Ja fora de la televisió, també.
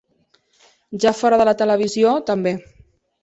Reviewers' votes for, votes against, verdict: 6, 0, accepted